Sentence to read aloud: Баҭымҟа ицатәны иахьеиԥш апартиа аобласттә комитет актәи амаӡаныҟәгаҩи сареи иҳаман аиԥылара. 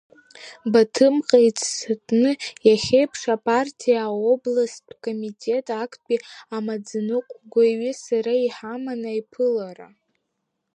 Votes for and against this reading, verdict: 2, 1, accepted